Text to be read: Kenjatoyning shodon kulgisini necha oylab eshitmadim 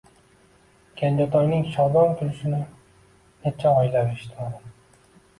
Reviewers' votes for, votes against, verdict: 0, 2, rejected